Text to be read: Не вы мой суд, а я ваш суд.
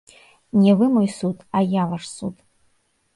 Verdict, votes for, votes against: rejected, 1, 3